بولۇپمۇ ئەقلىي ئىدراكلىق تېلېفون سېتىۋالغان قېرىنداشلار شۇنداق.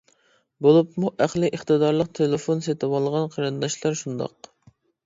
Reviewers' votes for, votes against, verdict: 1, 2, rejected